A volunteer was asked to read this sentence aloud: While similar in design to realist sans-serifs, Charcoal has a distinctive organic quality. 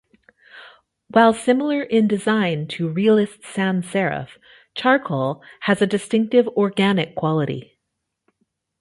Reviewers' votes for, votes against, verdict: 1, 2, rejected